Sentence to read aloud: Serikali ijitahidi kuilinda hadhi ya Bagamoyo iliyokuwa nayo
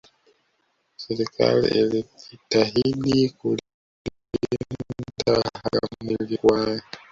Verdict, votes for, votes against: rejected, 0, 2